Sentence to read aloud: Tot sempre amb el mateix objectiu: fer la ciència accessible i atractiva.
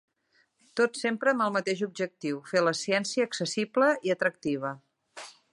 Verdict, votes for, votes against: accepted, 4, 0